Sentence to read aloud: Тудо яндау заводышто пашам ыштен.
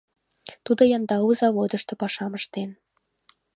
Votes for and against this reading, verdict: 3, 0, accepted